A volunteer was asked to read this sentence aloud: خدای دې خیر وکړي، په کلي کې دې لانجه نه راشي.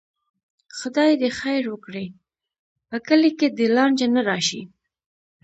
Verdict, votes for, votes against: accepted, 2, 0